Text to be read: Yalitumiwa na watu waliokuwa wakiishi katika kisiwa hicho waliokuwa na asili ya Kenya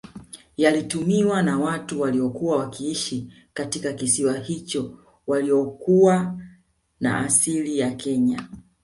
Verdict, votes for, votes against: rejected, 1, 2